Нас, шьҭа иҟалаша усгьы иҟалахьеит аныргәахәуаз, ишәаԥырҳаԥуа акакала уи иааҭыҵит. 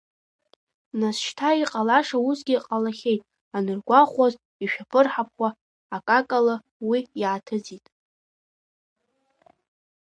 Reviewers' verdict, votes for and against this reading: rejected, 1, 2